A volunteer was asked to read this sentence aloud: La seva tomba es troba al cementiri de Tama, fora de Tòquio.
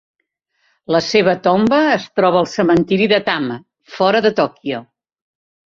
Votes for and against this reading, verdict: 5, 1, accepted